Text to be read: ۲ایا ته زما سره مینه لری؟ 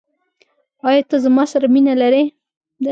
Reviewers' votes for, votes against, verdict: 0, 2, rejected